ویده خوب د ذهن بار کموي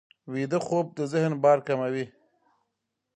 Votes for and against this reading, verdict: 3, 1, accepted